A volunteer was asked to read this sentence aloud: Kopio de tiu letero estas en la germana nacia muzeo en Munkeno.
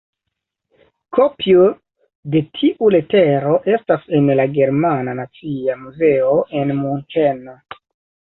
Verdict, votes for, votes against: rejected, 1, 3